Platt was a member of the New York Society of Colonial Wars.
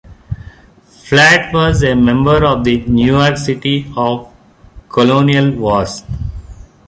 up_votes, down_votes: 1, 2